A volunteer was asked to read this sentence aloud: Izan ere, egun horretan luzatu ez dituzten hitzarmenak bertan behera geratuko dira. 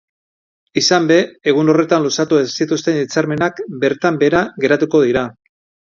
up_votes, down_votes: 1, 2